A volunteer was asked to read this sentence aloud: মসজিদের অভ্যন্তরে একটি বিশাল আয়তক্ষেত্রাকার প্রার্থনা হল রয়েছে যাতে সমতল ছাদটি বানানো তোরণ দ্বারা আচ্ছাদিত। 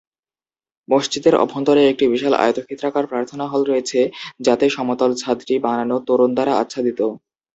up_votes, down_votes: 3, 0